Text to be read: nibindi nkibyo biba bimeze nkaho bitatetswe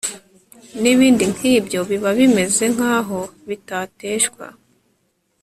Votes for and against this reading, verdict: 2, 3, rejected